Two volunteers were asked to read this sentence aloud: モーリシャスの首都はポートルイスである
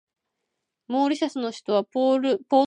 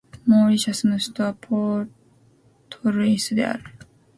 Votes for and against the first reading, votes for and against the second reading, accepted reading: 3, 4, 3, 0, second